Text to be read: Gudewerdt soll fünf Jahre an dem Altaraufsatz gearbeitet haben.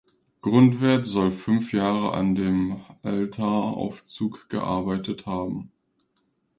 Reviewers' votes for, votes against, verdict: 0, 2, rejected